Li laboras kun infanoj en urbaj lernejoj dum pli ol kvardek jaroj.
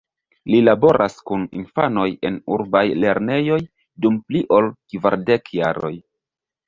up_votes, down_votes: 1, 2